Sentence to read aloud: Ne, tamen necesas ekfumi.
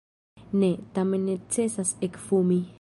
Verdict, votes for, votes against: rejected, 0, 2